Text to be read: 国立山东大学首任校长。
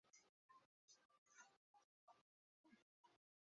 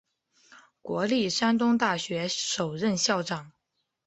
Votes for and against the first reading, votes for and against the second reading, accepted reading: 1, 4, 2, 0, second